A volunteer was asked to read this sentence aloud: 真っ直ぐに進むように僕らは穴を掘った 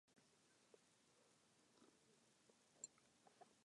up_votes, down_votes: 0, 2